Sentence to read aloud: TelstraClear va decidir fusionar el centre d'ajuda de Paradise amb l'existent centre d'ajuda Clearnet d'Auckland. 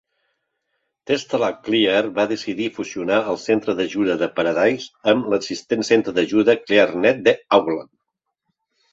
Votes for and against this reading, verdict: 2, 1, accepted